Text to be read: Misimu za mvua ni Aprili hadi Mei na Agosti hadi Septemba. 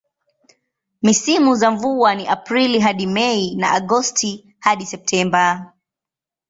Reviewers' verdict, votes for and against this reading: accepted, 12, 2